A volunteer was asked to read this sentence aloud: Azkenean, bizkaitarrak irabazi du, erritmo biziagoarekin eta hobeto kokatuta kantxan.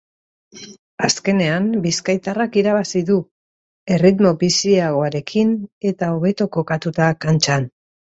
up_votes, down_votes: 2, 1